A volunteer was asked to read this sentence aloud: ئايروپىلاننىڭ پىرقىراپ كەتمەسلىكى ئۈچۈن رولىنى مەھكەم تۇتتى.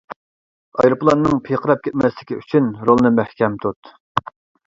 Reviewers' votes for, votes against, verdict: 0, 2, rejected